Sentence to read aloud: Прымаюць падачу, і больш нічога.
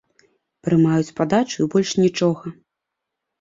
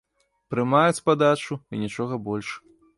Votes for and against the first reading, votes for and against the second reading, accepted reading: 2, 0, 1, 2, first